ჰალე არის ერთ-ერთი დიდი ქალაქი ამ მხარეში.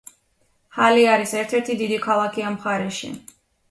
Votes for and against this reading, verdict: 2, 0, accepted